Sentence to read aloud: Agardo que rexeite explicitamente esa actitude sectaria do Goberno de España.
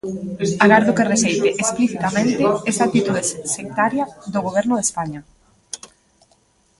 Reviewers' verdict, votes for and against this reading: rejected, 0, 2